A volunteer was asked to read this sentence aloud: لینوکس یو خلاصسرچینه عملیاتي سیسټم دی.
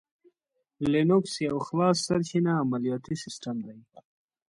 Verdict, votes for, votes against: accepted, 2, 0